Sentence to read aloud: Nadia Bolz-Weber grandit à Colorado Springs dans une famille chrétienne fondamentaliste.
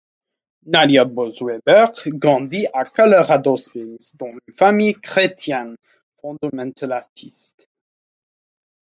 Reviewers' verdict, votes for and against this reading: rejected, 0, 2